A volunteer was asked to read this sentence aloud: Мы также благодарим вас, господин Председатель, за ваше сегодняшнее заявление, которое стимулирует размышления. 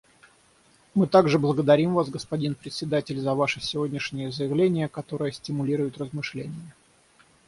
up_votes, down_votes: 3, 3